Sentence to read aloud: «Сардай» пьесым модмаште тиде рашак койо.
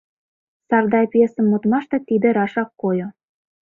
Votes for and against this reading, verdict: 2, 0, accepted